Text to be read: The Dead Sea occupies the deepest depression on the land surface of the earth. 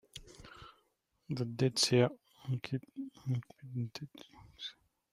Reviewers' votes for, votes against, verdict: 0, 2, rejected